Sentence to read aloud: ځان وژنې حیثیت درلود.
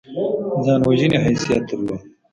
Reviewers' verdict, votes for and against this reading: accepted, 2, 1